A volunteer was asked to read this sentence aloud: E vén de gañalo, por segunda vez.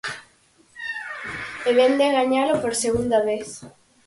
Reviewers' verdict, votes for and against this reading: accepted, 4, 0